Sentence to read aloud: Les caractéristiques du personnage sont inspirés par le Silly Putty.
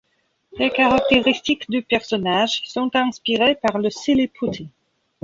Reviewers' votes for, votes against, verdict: 1, 2, rejected